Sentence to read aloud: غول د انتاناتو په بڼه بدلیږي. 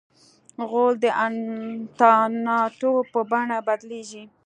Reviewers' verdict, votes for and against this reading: rejected, 1, 2